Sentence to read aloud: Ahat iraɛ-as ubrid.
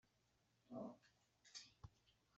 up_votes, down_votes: 1, 2